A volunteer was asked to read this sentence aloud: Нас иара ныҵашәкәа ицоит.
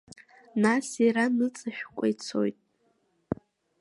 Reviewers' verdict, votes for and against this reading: accepted, 2, 0